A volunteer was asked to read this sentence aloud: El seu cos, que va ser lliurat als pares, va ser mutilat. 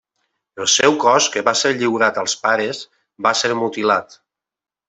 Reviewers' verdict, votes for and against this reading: accepted, 2, 0